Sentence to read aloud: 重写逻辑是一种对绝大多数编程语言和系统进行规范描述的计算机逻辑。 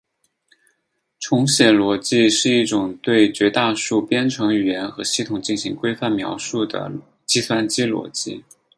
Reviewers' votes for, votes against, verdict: 6, 0, accepted